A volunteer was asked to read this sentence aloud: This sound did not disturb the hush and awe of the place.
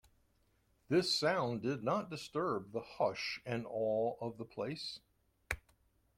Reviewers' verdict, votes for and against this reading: accepted, 2, 1